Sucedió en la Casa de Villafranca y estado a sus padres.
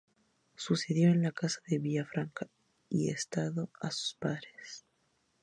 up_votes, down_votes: 2, 0